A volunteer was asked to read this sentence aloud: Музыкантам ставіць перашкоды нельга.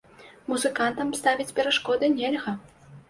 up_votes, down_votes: 2, 0